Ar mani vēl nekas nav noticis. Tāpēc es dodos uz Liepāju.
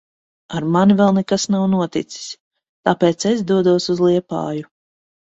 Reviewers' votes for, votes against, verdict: 2, 0, accepted